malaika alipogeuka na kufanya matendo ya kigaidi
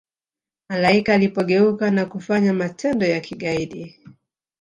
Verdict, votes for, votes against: rejected, 1, 2